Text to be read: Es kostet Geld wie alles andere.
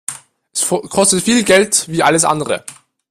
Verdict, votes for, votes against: rejected, 0, 2